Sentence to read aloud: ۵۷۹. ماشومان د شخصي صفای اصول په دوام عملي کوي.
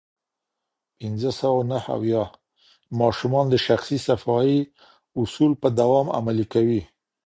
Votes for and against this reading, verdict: 0, 2, rejected